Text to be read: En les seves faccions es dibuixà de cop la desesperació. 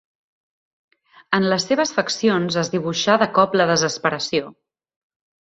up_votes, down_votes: 3, 0